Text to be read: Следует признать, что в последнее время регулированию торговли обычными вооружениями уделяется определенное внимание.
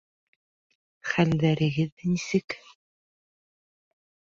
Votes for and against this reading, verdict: 0, 2, rejected